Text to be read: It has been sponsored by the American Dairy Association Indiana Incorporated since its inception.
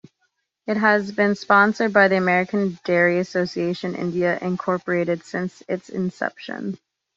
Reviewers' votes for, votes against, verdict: 0, 2, rejected